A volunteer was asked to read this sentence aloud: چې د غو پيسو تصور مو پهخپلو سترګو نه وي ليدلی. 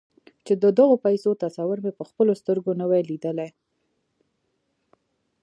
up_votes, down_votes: 2, 0